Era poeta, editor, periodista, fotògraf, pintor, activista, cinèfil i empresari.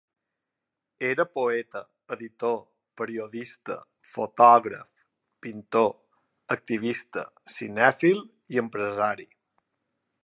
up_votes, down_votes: 4, 0